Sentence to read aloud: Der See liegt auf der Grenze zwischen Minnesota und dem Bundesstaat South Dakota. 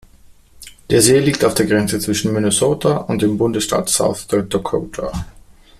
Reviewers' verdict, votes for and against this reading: rejected, 0, 2